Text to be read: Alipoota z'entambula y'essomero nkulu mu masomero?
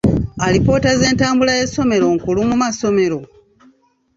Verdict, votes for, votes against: accepted, 2, 0